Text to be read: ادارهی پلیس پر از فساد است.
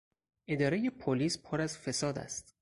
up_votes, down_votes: 6, 0